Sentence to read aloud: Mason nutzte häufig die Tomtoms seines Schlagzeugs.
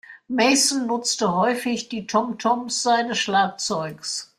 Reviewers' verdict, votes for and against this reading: accepted, 2, 0